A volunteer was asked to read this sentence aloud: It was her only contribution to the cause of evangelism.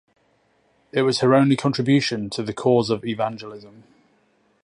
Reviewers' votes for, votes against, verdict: 2, 0, accepted